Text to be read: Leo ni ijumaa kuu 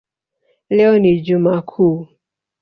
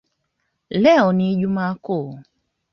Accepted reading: second